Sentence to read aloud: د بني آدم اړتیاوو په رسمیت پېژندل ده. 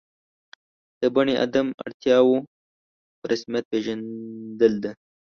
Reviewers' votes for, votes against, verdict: 1, 2, rejected